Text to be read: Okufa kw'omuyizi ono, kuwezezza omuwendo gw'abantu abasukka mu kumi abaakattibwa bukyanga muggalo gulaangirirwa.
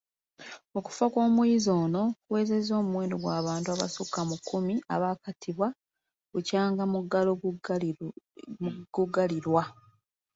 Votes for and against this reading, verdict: 1, 2, rejected